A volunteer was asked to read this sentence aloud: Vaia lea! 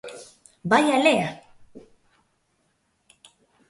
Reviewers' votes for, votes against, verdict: 2, 0, accepted